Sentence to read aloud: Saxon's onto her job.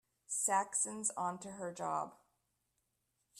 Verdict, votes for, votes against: accepted, 2, 0